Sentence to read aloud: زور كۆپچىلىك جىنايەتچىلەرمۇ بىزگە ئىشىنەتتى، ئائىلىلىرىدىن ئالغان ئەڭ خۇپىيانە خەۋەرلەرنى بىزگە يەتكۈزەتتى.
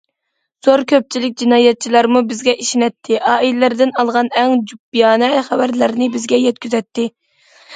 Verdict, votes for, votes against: rejected, 1, 2